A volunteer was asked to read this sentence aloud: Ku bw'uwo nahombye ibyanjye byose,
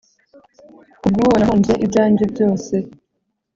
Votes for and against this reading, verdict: 0, 2, rejected